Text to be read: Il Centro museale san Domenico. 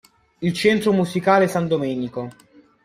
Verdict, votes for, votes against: rejected, 1, 2